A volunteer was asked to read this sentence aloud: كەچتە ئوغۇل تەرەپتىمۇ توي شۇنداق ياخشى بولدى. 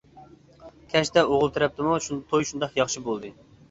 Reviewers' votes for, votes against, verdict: 1, 2, rejected